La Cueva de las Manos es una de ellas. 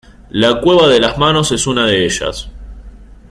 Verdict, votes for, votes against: accepted, 4, 0